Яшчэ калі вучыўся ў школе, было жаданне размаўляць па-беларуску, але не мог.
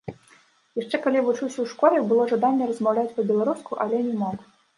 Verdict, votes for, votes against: accepted, 2, 1